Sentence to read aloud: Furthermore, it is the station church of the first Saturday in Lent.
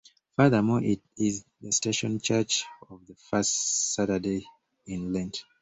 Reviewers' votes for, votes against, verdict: 1, 2, rejected